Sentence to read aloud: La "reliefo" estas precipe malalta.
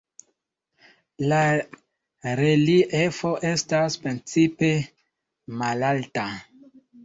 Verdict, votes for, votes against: rejected, 1, 2